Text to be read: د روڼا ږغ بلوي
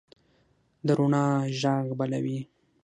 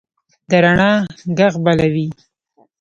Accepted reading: first